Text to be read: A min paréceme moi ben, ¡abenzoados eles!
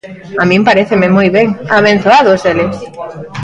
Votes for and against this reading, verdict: 2, 0, accepted